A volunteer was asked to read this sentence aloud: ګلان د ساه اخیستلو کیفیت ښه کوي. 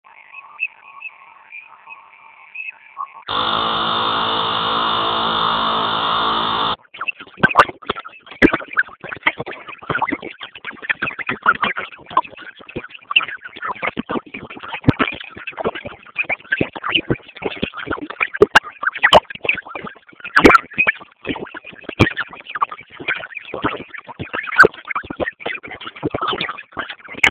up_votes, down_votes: 0, 2